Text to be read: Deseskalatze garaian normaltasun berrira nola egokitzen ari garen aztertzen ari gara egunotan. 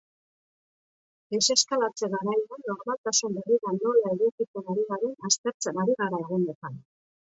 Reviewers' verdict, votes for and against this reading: rejected, 0, 2